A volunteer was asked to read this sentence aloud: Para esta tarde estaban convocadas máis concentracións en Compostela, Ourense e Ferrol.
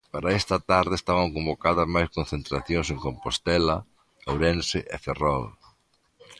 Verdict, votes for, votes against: accepted, 2, 0